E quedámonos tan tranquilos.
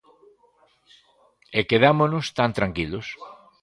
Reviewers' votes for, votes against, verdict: 2, 1, accepted